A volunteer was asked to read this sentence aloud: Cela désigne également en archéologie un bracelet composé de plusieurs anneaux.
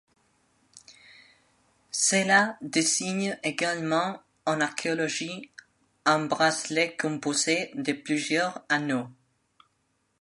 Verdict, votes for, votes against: accepted, 2, 0